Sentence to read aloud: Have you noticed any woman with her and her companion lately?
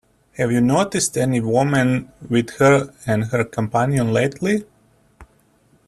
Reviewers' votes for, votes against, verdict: 2, 1, accepted